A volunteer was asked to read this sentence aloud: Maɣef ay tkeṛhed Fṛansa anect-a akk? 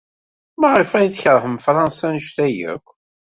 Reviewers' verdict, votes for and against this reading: rejected, 1, 2